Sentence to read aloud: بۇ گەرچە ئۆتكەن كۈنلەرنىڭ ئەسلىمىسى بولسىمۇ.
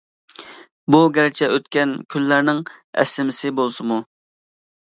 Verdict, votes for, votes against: accepted, 2, 0